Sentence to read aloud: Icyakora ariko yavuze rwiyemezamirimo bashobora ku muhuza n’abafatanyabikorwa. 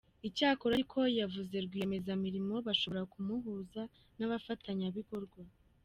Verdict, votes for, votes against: accepted, 2, 0